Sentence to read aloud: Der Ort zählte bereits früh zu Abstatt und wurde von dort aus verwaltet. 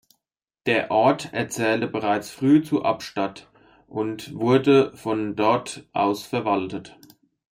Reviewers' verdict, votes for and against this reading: rejected, 0, 2